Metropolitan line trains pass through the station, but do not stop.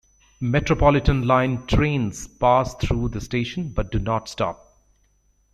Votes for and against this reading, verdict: 2, 0, accepted